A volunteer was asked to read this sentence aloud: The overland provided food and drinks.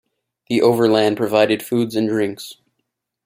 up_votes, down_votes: 0, 2